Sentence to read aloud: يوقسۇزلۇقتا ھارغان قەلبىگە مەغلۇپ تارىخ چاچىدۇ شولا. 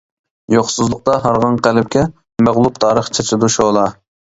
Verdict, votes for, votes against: rejected, 0, 2